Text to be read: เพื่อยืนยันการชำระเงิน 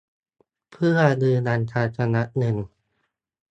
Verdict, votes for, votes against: rejected, 1, 2